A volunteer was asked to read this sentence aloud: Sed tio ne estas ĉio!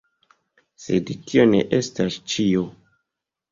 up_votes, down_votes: 2, 0